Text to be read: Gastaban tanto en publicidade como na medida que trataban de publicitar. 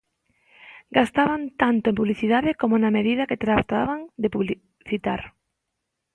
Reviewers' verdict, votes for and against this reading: rejected, 0, 2